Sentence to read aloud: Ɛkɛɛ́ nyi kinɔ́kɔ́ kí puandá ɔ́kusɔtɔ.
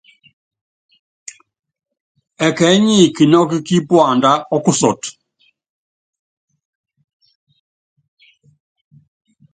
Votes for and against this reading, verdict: 2, 0, accepted